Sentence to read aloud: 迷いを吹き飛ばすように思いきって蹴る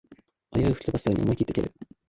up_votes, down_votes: 0, 2